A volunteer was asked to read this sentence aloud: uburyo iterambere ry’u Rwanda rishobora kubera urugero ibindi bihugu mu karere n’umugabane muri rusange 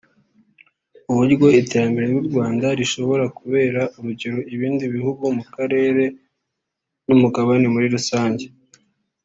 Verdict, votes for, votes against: rejected, 1, 2